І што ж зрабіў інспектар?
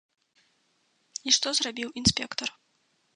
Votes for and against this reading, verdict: 0, 2, rejected